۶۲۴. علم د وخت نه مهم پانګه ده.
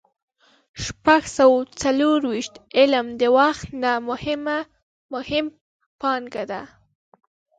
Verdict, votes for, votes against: rejected, 0, 2